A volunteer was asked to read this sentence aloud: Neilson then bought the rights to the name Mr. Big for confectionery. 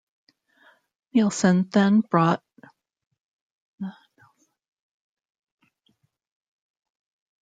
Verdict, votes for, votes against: rejected, 0, 2